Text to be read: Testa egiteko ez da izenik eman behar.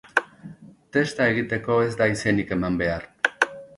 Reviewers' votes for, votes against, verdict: 3, 0, accepted